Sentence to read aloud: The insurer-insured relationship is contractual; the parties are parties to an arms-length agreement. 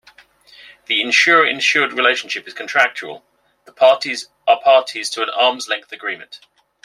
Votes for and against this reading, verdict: 2, 0, accepted